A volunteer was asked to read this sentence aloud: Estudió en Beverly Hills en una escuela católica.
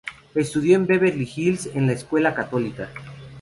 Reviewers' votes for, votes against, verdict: 2, 0, accepted